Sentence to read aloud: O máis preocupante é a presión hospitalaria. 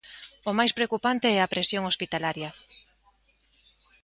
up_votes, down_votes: 2, 0